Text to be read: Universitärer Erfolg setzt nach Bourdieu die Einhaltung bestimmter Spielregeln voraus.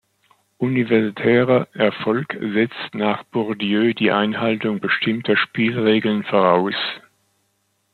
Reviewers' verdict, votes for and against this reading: accepted, 2, 0